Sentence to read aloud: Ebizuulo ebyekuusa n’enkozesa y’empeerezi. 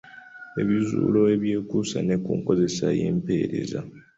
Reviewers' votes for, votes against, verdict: 0, 2, rejected